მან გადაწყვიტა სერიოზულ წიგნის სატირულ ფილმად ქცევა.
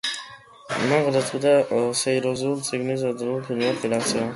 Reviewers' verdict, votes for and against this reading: rejected, 0, 2